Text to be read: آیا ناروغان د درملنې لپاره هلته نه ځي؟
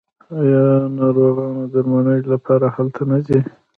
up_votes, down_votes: 0, 2